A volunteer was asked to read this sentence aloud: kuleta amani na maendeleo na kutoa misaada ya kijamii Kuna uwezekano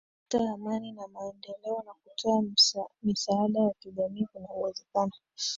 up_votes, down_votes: 6, 2